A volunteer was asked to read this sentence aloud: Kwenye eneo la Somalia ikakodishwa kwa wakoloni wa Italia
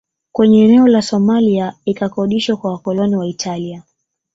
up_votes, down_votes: 2, 0